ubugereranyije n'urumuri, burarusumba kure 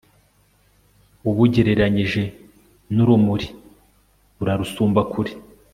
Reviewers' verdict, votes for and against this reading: accepted, 2, 0